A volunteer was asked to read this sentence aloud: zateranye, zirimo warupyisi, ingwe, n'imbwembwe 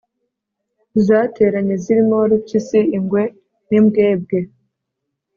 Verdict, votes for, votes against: accepted, 2, 0